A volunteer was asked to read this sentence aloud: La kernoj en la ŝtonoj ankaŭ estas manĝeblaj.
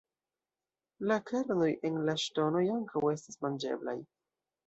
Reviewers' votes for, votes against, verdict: 2, 0, accepted